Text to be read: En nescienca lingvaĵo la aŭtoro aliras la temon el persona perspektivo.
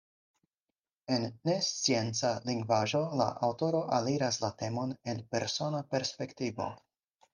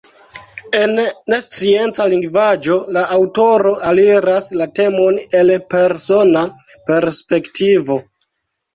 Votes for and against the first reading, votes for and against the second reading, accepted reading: 4, 0, 1, 2, first